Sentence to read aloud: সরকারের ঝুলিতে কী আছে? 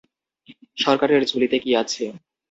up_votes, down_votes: 2, 0